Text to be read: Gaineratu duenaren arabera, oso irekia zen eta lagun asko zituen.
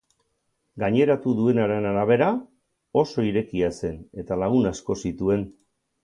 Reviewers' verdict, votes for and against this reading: accepted, 4, 0